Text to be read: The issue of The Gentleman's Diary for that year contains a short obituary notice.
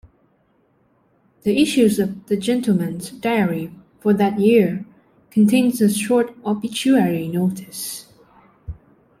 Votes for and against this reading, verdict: 2, 1, accepted